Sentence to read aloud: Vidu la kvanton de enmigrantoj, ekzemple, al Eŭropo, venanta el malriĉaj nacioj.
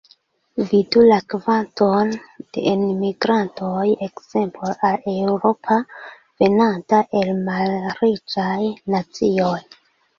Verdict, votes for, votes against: rejected, 0, 2